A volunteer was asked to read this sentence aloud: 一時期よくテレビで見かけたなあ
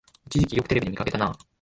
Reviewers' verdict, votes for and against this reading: rejected, 1, 2